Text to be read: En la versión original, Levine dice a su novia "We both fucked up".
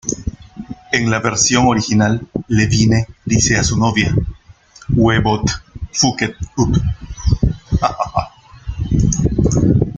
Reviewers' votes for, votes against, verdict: 0, 2, rejected